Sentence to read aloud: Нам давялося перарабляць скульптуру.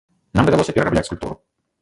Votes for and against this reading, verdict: 1, 2, rejected